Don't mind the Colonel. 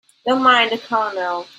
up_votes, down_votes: 2, 0